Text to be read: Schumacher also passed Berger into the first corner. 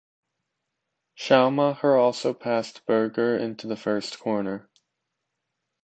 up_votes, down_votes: 2, 1